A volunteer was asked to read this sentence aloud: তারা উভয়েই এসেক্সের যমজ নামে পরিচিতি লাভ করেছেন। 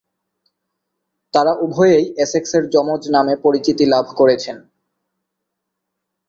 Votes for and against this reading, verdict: 0, 2, rejected